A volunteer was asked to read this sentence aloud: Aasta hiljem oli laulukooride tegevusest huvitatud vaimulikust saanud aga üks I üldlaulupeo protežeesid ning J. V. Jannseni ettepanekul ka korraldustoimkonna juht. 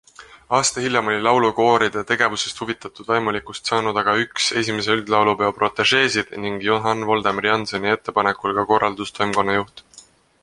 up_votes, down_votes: 2, 0